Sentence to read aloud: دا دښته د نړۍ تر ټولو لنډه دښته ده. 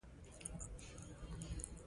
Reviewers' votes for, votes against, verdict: 1, 2, rejected